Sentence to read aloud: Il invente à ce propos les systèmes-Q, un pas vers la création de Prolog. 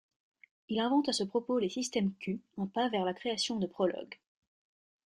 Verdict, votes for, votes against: accepted, 2, 0